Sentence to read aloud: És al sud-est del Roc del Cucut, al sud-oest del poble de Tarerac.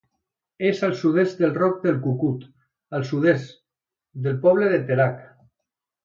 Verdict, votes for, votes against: rejected, 0, 2